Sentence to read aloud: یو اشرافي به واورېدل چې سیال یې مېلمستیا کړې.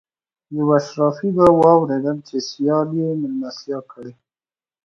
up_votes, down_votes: 2, 0